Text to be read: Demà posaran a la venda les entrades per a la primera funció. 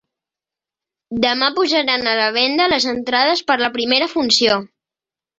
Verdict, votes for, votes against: rejected, 1, 2